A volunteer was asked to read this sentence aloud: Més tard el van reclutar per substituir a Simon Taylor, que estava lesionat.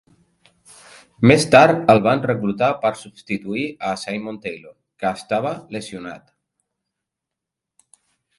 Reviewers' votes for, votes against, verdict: 2, 3, rejected